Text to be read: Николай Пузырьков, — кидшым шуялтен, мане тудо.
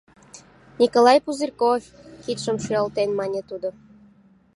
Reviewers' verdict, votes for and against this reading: accepted, 2, 0